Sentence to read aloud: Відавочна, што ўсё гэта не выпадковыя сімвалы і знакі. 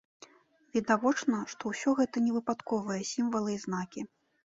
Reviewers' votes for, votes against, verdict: 2, 0, accepted